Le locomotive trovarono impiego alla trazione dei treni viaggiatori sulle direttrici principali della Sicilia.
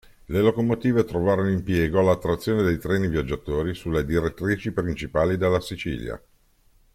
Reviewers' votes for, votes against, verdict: 2, 0, accepted